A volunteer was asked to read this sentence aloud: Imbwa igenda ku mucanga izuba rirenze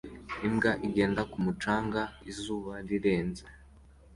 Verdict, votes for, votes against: accepted, 2, 0